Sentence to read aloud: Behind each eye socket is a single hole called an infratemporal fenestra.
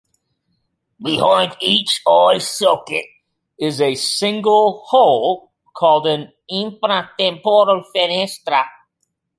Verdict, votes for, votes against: rejected, 1, 2